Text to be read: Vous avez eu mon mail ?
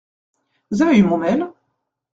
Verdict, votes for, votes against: accepted, 2, 1